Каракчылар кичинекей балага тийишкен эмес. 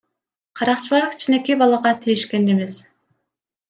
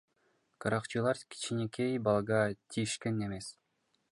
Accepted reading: first